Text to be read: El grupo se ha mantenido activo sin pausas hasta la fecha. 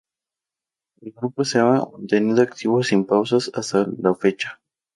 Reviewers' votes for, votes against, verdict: 0, 2, rejected